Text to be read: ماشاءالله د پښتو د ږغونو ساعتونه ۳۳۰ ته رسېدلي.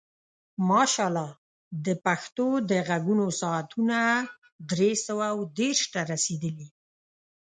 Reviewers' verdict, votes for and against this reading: rejected, 0, 2